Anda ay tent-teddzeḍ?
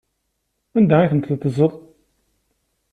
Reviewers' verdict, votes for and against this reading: accepted, 2, 0